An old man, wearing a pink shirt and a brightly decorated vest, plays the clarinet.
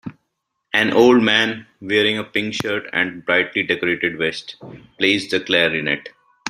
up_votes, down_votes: 3, 0